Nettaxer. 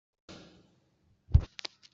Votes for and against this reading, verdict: 1, 2, rejected